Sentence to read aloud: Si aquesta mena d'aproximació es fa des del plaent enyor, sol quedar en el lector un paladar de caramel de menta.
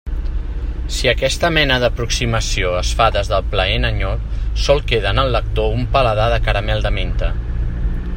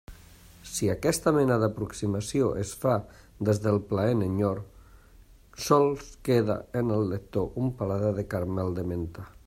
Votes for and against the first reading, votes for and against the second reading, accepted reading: 2, 0, 1, 2, first